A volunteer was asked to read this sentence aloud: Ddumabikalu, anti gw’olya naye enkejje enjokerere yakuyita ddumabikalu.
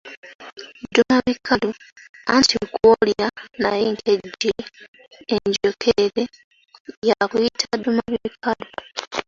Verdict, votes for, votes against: rejected, 0, 2